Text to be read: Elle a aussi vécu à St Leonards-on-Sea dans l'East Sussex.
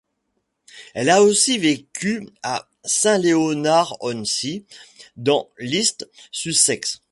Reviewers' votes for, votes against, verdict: 1, 2, rejected